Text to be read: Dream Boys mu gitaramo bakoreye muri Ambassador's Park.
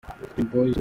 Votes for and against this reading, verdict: 0, 2, rejected